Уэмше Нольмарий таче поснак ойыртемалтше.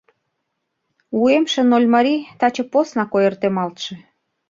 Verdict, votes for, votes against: rejected, 1, 2